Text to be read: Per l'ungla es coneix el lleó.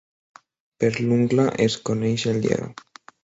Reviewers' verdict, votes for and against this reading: accepted, 5, 0